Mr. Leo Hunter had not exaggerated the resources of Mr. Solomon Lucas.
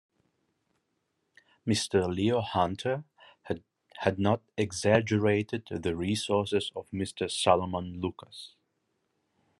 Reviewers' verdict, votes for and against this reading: accepted, 2, 0